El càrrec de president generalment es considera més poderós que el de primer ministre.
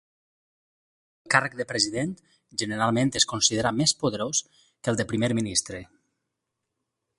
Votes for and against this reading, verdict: 2, 2, rejected